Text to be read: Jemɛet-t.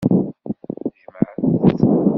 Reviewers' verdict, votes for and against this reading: rejected, 1, 2